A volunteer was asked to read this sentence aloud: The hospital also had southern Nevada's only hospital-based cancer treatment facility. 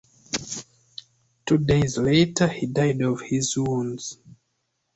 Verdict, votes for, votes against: rejected, 0, 2